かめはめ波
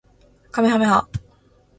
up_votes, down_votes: 2, 0